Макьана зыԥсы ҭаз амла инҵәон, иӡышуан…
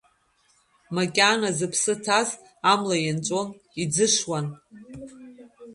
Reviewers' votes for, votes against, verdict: 0, 2, rejected